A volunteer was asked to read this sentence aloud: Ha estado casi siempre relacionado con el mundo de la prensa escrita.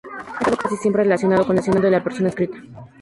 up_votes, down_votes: 0, 2